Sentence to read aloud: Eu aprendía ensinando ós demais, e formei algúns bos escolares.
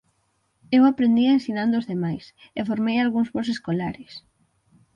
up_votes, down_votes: 6, 0